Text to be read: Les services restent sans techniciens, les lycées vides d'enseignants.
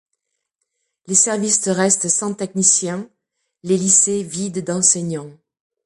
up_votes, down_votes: 1, 2